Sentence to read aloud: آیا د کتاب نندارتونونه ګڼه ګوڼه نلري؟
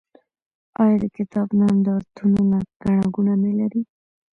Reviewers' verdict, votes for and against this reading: accepted, 2, 0